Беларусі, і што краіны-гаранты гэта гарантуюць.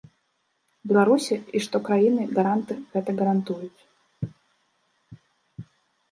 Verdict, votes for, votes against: rejected, 1, 2